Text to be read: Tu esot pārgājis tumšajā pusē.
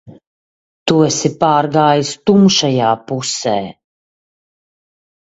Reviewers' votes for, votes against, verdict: 0, 3, rejected